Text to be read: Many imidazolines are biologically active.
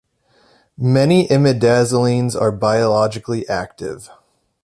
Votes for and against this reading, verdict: 2, 0, accepted